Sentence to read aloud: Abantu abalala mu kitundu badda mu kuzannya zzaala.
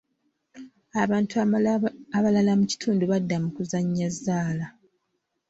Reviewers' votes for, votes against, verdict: 0, 2, rejected